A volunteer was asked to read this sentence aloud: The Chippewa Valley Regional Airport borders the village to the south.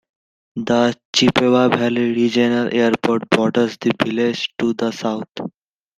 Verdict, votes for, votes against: accepted, 2, 0